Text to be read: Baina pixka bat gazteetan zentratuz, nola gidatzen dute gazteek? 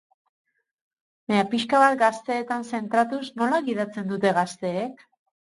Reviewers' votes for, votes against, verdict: 2, 2, rejected